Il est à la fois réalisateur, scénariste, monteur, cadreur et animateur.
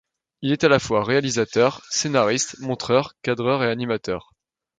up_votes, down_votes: 1, 2